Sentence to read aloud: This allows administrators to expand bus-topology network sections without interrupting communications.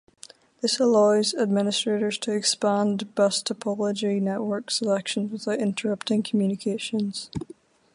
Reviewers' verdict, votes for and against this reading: rejected, 4, 4